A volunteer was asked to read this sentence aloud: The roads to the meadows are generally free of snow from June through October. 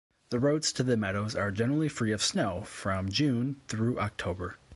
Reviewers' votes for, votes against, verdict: 2, 0, accepted